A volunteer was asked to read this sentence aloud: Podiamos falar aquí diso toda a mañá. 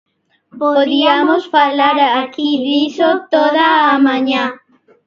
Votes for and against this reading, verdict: 0, 2, rejected